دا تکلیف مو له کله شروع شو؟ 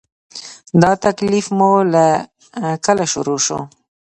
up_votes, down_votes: 2, 0